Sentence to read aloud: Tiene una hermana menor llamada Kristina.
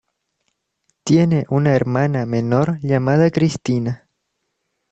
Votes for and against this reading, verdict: 2, 0, accepted